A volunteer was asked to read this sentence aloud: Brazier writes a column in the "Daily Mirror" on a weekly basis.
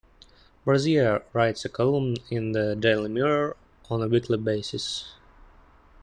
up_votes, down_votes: 2, 0